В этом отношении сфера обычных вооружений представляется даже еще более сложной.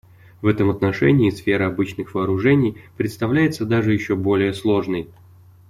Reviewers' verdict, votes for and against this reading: accepted, 2, 0